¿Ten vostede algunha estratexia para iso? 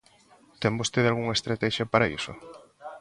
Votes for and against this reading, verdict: 2, 0, accepted